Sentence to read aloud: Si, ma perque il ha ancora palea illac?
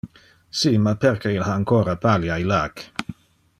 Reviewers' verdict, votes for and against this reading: accepted, 2, 0